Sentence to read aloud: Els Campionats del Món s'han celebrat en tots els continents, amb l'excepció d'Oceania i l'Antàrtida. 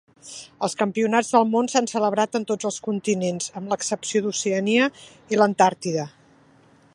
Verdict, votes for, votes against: accepted, 3, 0